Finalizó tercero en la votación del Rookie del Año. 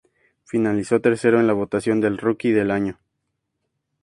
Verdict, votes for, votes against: accepted, 4, 0